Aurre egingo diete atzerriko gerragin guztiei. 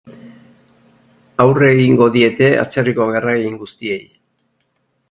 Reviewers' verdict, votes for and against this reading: accepted, 6, 0